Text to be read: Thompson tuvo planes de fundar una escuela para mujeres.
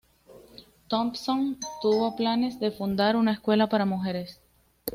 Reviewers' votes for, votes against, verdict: 2, 0, accepted